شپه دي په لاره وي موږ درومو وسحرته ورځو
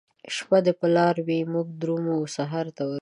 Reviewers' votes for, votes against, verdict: 0, 2, rejected